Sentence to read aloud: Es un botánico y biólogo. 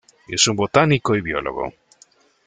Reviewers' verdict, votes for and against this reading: accepted, 2, 0